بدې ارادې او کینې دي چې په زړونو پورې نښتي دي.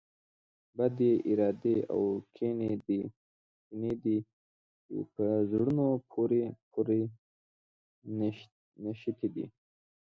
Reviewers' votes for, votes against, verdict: 0, 2, rejected